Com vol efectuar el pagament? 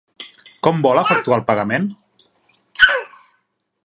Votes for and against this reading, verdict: 3, 1, accepted